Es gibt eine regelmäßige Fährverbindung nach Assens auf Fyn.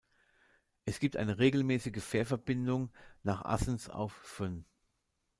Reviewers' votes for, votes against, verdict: 2, 0, accepted